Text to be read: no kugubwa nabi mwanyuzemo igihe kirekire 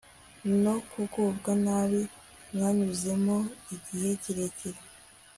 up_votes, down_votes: 2, 0